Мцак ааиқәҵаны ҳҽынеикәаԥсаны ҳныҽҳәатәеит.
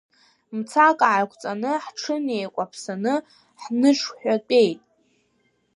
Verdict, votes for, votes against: rejected, 0, 2